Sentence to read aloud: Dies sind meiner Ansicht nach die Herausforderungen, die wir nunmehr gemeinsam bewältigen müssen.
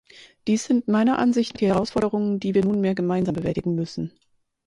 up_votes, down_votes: 0, 4